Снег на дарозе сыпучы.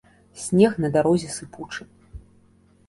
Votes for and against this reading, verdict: 2, 0, accepted